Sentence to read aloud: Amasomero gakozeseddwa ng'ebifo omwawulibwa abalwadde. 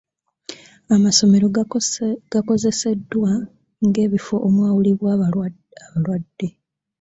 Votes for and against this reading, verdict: 0, 2, rejected